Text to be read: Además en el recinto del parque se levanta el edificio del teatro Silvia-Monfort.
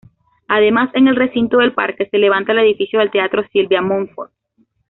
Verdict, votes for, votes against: accepted, 2, 0